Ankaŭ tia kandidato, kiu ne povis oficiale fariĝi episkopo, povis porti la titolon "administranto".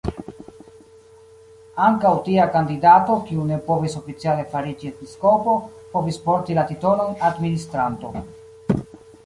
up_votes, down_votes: 2, 1